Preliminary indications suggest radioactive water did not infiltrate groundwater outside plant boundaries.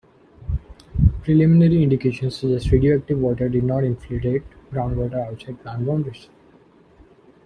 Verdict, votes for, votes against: rejected, 1, 2